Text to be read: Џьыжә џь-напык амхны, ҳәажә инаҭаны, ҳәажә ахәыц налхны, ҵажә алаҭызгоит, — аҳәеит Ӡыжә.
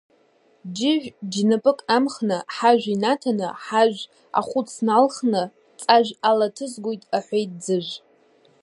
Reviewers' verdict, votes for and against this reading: rejected, 0, 2